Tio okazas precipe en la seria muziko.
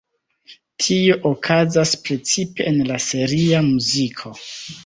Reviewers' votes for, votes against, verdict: 2, 0, accepted